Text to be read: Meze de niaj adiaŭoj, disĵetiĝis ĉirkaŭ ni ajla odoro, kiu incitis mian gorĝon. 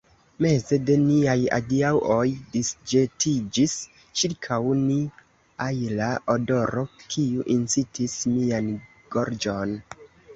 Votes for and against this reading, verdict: 1, 2, rejected